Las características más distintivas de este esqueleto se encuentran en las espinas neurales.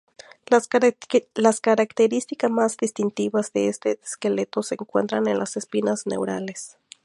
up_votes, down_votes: 0, 2